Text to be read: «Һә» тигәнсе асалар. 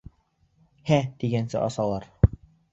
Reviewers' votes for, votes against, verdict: 2, 0, accepted